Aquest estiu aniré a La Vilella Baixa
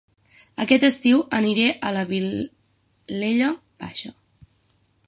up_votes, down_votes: 6, 0